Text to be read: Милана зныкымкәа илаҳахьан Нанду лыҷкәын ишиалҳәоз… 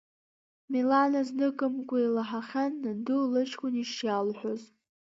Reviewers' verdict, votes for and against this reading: rejected, 0, 2